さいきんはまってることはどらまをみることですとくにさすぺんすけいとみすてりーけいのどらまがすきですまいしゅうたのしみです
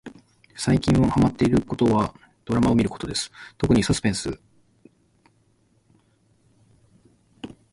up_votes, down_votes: 0, 2